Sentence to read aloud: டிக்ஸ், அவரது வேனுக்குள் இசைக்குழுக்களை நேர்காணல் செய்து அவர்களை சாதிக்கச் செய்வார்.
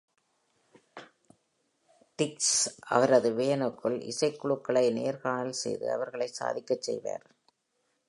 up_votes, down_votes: 2, 0